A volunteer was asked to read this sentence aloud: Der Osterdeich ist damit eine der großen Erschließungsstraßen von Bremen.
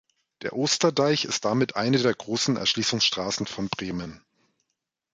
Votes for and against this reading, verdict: 2, 0, accepted